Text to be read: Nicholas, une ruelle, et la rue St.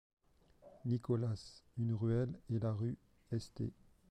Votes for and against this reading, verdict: 0, 2, rejected